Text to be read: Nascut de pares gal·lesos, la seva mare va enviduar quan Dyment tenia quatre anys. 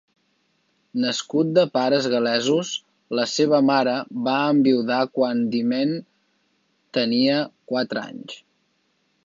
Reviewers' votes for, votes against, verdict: 0, 2, rejected